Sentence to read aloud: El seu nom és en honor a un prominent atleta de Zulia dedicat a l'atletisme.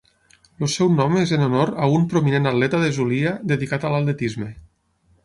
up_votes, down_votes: 9, 0